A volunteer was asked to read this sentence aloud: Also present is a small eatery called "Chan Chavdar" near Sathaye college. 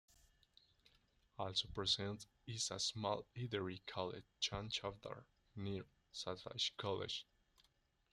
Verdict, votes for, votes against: accepted, 2, 0